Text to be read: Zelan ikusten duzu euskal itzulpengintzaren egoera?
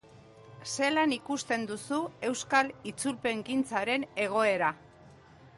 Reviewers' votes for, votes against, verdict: 2, 0, accepted